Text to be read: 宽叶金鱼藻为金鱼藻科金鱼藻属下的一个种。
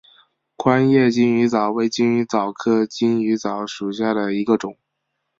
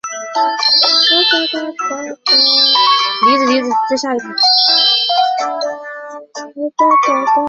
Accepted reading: first